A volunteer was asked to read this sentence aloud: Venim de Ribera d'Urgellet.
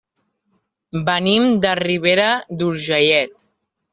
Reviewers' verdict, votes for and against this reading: rejected, 1, 2